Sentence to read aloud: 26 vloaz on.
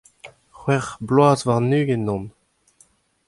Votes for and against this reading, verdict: 0, 2, rejected